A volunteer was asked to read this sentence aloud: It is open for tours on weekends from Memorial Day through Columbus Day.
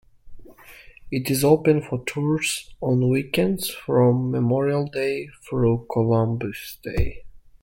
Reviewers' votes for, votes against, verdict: 2, 0, accepted